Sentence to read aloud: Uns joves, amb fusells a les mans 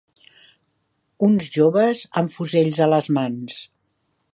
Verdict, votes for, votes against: accepted, 4, 0